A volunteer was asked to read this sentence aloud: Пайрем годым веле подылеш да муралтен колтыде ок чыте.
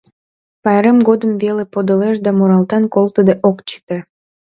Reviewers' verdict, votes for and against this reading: accepted, 2, 0